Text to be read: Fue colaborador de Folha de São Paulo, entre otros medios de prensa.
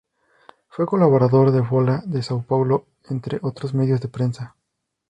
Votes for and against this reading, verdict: 4, 0, accepted